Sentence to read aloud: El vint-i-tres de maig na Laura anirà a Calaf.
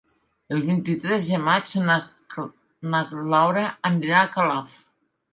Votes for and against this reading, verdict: 0, 3, rejected